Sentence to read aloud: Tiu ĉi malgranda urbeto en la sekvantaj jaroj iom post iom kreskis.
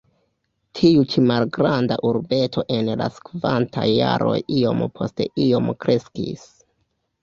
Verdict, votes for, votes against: accepted, 2, 1